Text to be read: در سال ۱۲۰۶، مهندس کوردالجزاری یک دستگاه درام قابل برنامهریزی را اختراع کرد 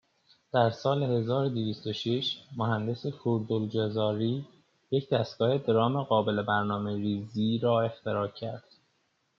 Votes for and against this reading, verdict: 0, 2, rejected